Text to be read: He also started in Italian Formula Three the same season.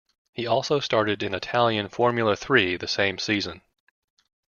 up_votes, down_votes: 2, 0